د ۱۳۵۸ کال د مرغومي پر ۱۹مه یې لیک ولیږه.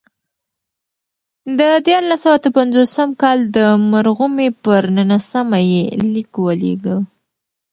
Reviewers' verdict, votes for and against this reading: rejected, 0, 2